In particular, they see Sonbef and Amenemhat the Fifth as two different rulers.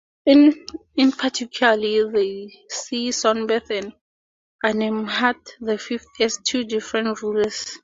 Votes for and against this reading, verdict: 0, 4, rejected